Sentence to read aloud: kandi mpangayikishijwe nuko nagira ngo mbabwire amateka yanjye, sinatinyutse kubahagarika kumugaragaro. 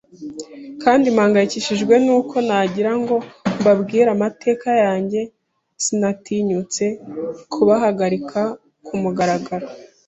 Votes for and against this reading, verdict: 2, 0, accepted